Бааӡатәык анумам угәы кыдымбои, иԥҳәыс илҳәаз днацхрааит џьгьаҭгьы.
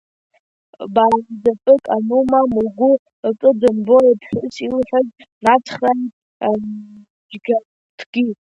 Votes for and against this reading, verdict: 0, 2, rejected